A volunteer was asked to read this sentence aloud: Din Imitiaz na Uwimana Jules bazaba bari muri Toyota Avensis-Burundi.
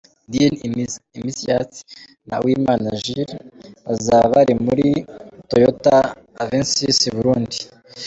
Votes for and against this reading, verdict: 1, 3, rejected